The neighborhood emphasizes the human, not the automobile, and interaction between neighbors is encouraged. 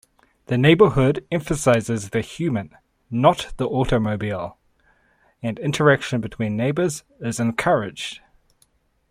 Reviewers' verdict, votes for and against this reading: accepted, 2, 0